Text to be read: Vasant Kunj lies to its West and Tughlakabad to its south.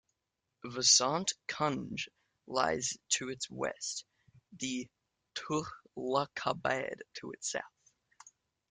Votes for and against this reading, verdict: 1, 2, rejected